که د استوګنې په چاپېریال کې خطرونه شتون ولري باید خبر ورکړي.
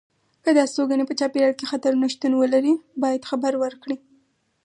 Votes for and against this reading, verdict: 4, 0, accepted